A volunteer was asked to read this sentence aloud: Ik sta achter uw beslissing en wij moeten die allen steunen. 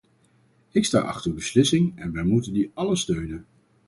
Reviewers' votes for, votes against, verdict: 4, 0, accepted